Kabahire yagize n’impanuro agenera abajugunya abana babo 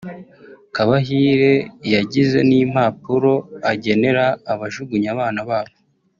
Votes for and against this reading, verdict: 0, 2, rejected